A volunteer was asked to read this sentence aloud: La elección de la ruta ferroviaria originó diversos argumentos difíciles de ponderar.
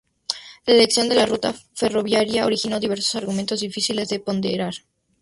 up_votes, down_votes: 2, 0